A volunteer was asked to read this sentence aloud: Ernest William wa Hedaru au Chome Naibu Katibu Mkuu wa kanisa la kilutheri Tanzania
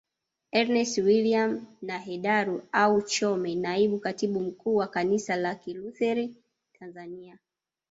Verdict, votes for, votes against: rejected, 1, 2